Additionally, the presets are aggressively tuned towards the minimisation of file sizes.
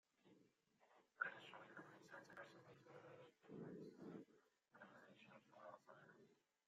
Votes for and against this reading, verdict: 0, 2, rejected